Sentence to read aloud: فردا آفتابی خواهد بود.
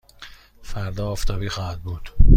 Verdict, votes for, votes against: accepted, 2, 0